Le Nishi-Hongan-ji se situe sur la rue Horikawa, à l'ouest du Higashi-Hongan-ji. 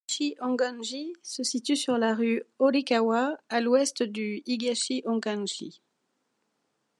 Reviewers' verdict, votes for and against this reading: rejected, 1, 2